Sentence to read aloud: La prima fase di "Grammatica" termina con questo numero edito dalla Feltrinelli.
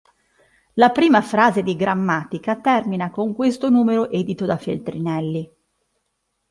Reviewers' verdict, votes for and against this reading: rejected, 1, 2